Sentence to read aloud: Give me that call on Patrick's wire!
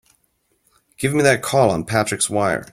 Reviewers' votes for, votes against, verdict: 2, 0, accepted